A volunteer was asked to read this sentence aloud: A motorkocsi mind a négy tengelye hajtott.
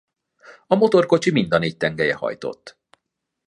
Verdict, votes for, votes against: accepted, 2, 0